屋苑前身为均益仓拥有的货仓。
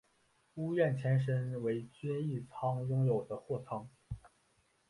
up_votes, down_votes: 2, 1